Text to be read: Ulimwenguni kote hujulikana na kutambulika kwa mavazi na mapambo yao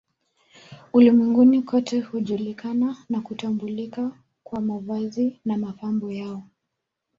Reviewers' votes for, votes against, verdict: 0, 2, rejected